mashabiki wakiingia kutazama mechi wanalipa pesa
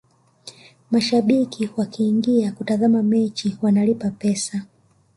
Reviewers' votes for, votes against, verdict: 3, 0, accepted